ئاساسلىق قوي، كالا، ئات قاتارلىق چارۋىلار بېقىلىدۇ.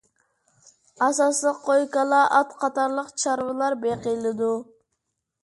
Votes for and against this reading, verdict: 2, 0, accepted